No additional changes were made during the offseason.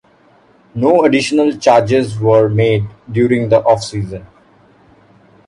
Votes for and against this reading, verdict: 0, 2, rejected